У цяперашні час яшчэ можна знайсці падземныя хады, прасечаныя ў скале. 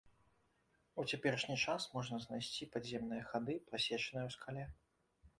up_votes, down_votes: 1, 2